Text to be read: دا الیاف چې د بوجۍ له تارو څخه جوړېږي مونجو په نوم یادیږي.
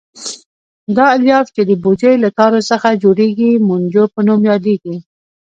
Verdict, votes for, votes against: rejected, 0, 2